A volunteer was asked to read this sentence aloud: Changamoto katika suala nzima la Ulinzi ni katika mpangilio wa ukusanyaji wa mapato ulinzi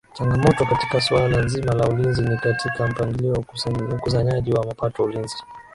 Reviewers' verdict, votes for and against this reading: accepted, 2, 0